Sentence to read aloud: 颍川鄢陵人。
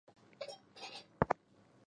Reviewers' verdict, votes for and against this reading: rejected, 0, 2